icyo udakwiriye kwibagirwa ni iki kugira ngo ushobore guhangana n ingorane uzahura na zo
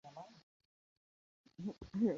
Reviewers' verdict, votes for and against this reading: rejected, 0, 2